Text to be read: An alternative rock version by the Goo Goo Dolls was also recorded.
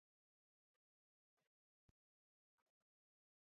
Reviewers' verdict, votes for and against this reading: rejected, 0, 2